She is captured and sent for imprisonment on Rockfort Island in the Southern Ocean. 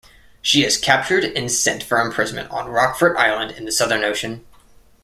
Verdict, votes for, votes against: accepted, 2, 0